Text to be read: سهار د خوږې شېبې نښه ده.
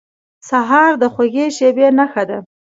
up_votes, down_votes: 2, 0